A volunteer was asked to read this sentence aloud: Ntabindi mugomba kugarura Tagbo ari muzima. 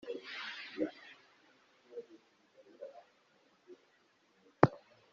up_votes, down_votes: 0, 2